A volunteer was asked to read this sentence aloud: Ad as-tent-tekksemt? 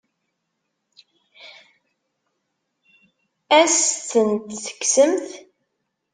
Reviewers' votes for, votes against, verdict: 2, 1, accepted